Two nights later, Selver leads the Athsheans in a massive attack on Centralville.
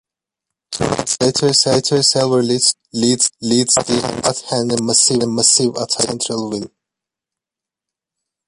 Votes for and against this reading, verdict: 0, 2, rejected